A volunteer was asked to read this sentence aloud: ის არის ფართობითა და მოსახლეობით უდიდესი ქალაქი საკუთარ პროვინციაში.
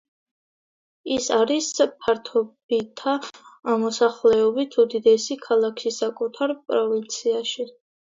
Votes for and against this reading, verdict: 0, 2, rejected